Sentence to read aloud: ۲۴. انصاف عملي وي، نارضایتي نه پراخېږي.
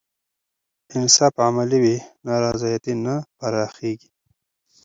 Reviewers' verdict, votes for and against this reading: rejected, 0, 2